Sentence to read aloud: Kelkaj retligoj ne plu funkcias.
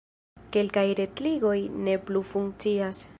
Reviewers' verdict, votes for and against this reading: accepted, 2, 0